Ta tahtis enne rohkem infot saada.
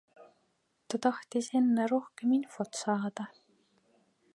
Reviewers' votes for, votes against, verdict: 2, 0, accepted